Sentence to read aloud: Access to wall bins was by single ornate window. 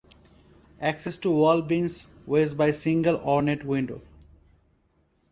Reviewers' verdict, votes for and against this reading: accepted, 2, 0